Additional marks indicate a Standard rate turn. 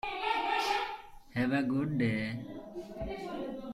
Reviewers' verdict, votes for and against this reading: rejected, 0, 2